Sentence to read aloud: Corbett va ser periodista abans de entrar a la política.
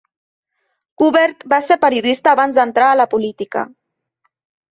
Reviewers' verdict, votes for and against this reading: rejected, 0, 2